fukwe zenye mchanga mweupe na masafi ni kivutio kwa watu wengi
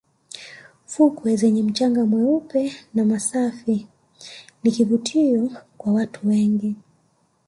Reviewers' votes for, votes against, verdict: 2, 1, accepted